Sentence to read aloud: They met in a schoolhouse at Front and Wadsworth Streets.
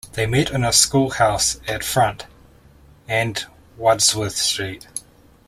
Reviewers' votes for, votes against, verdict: 0, 2, rejected